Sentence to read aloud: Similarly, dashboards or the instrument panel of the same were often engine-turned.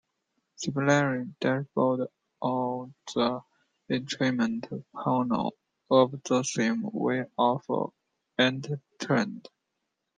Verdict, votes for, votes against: rejected, 1, 2